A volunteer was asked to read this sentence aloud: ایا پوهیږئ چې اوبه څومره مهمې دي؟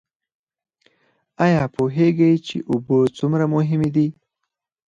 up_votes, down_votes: 4, 0